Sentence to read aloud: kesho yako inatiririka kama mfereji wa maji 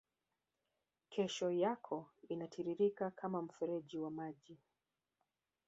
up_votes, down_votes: 2, 3